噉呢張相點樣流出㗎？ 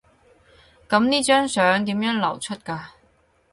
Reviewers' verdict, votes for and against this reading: accepted, 2, 0